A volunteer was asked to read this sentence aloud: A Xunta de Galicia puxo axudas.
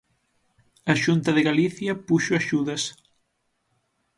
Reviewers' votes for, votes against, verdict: 6, 0, accepted